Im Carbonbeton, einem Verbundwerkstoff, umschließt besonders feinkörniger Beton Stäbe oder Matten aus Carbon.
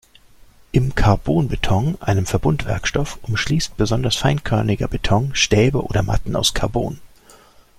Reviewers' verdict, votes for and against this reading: accepted, 2, 0